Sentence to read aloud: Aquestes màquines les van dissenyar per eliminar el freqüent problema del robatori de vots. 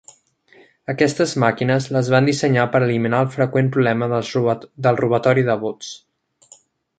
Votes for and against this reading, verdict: 0, 2, rejected